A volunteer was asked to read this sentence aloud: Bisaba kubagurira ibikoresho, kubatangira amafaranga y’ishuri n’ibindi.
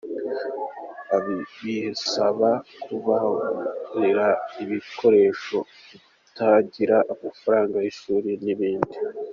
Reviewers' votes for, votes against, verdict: 1, 2, rejected